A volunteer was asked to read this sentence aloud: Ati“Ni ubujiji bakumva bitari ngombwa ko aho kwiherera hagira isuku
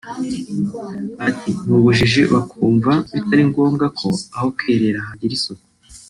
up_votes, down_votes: 1, 2